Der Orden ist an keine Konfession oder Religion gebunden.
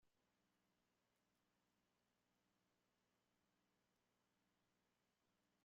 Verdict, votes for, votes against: rejected, 0, 2